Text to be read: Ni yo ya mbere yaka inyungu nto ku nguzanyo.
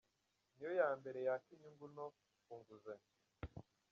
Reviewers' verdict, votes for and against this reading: rejected, 1, 2